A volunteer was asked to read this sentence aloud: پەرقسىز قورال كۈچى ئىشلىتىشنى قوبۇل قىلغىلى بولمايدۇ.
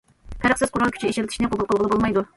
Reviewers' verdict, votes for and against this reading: accepted, 2, 0